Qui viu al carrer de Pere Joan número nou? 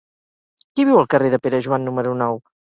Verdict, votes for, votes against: accepted, 2, 0